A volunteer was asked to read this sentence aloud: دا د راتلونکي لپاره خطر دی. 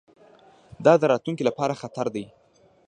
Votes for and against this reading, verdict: 2, 0, accepted